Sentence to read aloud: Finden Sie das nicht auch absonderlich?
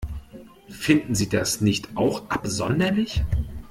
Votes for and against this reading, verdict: 2, 0, accepted